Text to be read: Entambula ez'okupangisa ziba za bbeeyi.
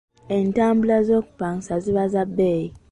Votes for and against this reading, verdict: 2, 0, accepted